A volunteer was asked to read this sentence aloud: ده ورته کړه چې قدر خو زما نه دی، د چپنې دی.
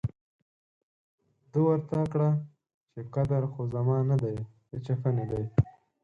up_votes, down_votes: 2, 4